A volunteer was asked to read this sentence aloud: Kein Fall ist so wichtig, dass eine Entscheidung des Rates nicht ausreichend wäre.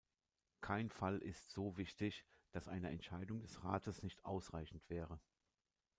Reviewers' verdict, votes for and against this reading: accepted, 2, 0